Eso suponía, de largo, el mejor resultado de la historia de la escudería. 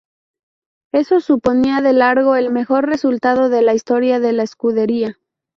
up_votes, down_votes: 0, 2